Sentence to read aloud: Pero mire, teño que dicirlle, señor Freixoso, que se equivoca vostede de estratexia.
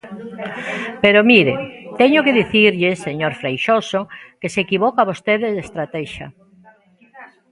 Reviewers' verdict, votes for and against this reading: rejected, 1, 2